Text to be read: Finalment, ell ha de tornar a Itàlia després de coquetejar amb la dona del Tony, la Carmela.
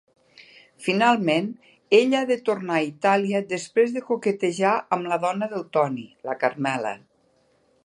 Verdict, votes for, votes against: accepted, 2, 0